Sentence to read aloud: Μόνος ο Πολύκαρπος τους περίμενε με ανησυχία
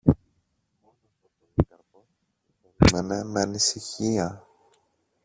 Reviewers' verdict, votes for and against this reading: rejected, 0, 2